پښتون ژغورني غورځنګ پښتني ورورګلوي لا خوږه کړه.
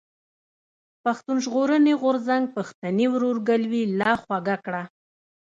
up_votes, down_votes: 2, 0